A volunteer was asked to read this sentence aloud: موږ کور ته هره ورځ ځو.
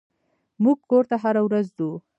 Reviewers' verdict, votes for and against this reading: accepted, 2, 0